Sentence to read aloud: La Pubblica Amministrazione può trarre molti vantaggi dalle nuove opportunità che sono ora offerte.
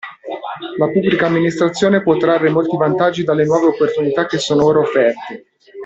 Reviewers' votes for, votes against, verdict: 1, 2, rejected